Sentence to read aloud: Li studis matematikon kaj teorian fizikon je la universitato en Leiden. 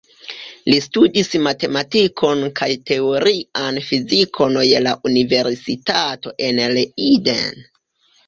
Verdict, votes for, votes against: rejected, 1, 2